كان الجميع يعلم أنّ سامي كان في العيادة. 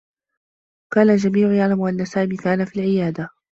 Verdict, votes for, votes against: accepted, 2, 0